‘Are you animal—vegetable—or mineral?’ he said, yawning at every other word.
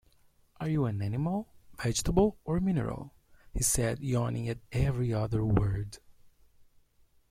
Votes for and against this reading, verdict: 1, 2, rejected